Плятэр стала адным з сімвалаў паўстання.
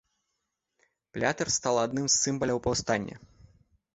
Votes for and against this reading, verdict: 1, 2, rejected